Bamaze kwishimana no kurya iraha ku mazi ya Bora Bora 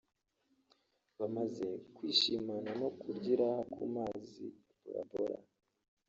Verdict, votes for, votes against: rejected, 1, 2